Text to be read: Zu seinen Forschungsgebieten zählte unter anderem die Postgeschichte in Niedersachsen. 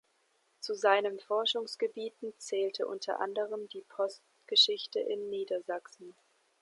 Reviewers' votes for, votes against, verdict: 3, 0, accepted